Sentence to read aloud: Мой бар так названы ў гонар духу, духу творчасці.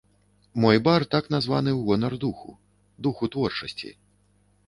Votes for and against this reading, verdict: 2, 0, accepted